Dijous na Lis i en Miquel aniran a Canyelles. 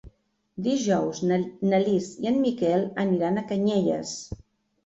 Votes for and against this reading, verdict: 1, 3, rejected